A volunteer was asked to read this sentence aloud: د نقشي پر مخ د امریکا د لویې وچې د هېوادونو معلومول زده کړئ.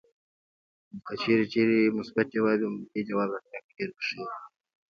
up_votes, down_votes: 0, 2